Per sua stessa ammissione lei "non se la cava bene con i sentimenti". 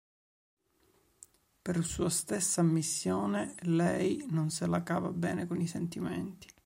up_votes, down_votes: 2, 0